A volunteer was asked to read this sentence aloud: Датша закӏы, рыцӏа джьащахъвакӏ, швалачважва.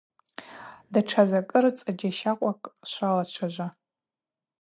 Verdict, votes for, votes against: accepted, 4, 0